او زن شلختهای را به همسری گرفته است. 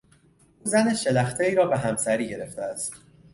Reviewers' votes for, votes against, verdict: 2, 1, accepted